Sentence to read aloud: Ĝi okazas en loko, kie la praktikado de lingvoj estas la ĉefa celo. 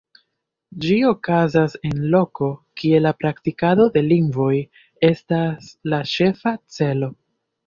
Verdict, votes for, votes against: accepted, 2, 0